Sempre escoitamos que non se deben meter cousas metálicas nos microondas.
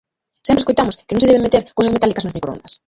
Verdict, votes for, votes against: rejected, 0, 2